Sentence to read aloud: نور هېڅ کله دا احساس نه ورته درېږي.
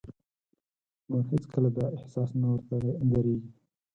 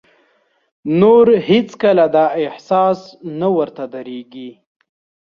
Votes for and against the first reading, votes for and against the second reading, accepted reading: 0, 4, 2, 0, second